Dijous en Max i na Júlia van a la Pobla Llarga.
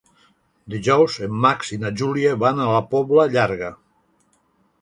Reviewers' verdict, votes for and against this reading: accepted, 3, 0